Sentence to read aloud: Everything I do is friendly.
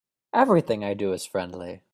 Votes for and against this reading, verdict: 3, 0, accepted